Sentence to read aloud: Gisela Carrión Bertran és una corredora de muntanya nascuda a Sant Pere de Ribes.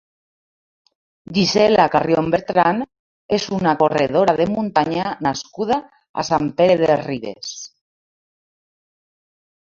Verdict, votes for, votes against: accepted, 3, 0